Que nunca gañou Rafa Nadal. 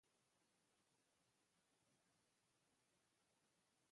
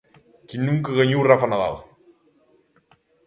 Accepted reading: second